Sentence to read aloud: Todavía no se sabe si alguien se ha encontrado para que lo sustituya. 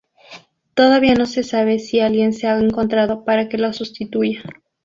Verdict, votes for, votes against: rejected, 0, 2